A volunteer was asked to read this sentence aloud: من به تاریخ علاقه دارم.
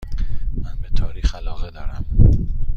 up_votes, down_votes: 2, 0